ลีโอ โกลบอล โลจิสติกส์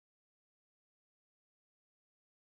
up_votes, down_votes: 0, 2